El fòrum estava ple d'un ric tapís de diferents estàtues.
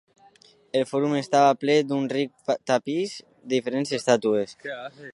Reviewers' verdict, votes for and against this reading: accepted, 2, 0